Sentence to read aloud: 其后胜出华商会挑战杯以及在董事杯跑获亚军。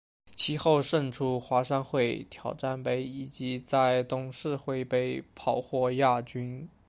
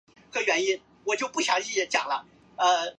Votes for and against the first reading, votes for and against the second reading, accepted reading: 2, 0, 0, 2, first